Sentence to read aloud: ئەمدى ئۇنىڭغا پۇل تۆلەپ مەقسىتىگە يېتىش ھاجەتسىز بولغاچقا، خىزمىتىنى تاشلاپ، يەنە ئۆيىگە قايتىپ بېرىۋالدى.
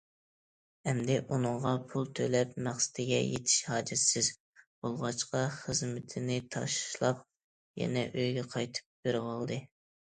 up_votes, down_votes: 2, 0